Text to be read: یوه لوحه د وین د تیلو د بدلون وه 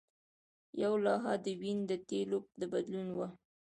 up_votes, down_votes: 2, 1